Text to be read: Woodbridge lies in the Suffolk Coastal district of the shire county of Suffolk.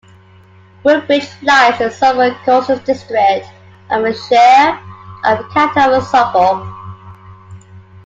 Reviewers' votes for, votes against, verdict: 1, 2, rejected